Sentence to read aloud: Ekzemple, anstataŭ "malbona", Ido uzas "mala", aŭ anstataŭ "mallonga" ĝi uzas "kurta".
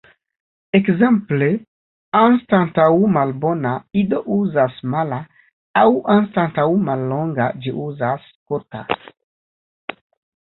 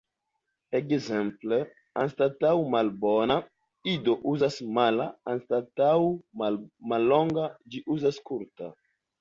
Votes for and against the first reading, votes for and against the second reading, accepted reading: 2, 1, 1, 2, first